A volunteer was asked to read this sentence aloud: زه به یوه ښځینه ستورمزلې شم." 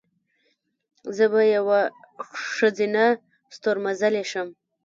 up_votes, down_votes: 1, 2